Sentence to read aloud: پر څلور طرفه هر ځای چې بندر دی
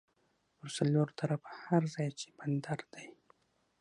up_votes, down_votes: 6, 3